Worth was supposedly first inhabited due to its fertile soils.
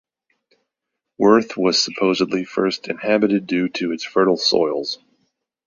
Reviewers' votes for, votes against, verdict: 2, 1, accepted